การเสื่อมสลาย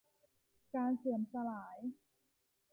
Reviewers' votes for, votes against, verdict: 2, 0, accepted